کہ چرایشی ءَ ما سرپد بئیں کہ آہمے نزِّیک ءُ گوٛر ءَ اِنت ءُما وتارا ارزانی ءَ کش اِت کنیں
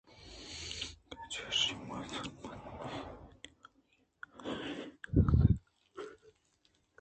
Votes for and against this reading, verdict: 0, 2, rejected